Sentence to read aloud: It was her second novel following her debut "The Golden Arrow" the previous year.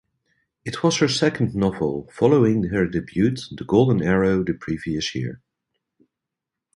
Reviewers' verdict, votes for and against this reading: rejected, 0, 2